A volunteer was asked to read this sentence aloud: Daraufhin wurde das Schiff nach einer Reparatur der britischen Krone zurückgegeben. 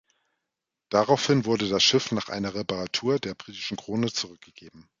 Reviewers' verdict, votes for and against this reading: rejected, 1, 2